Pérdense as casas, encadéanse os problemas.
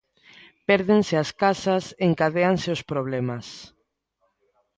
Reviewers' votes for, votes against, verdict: 2, 0, accepted